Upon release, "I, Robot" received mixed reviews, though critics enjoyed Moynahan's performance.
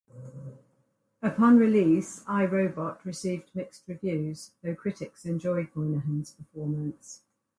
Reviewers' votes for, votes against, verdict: 4, 0, accepted